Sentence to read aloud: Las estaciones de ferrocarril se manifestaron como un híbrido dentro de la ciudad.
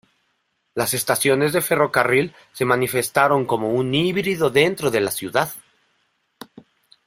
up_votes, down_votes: 2, 1